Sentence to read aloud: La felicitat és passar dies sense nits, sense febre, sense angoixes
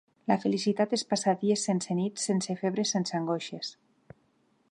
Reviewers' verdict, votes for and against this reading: accepted, 4, 0